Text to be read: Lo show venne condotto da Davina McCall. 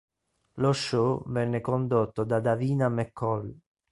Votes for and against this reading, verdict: 2, 0, accepted